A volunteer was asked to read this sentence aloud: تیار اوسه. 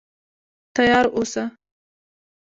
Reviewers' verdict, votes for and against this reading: accepted, 2, 0